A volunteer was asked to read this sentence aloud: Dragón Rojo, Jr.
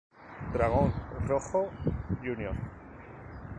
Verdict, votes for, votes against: accepted, 2, 0